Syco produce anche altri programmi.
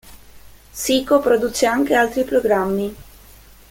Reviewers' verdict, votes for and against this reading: rejected, 1, 2